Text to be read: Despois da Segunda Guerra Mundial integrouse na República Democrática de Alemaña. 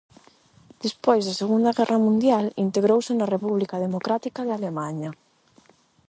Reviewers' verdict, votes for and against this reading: accepted, 8, 0